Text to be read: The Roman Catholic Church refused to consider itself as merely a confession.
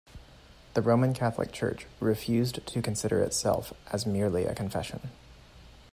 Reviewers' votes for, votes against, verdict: 2, 0, accepted